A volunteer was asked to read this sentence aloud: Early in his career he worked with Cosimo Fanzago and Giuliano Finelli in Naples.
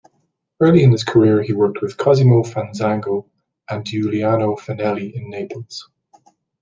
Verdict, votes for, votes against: accepted, 2, 0